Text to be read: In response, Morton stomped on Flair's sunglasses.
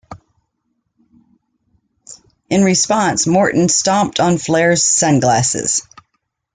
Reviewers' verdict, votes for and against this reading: accepted, 2, 0